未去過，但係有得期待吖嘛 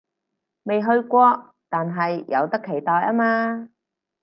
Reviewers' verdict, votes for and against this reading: accepted, 4, 0